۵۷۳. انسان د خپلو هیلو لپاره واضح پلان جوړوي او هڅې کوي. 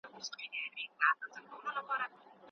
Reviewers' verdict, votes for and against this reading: rejected, 0, 2